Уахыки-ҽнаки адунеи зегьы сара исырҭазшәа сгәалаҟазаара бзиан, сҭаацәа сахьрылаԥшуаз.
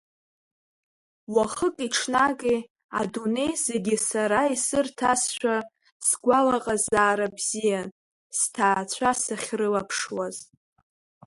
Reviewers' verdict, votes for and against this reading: rejected, 0, 2